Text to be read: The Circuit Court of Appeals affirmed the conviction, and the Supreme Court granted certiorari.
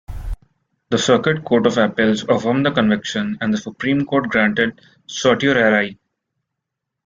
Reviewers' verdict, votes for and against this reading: rejected, 0, 2